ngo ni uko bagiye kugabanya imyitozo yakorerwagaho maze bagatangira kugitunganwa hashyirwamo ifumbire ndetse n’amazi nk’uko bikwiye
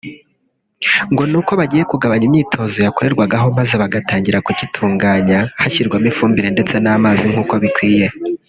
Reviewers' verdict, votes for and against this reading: rejected, 3, 4